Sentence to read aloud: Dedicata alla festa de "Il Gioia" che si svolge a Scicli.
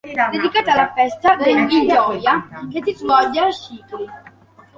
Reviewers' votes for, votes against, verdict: 3, 2, accepted